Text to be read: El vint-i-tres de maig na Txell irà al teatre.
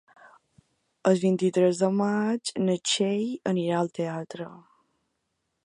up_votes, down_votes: 0, 2